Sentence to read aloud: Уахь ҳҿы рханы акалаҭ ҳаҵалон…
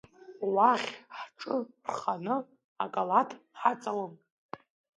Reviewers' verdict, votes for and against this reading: accepted, 2, 0